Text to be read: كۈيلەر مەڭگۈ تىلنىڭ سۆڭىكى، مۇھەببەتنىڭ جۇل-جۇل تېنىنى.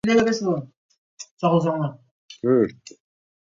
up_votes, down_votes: 0, 2